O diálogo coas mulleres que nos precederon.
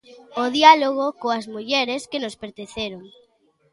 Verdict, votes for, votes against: rejected, 0, 2